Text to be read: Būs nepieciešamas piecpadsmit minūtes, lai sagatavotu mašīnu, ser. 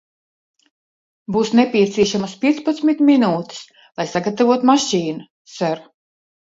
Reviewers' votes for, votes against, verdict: 1, 2, rejected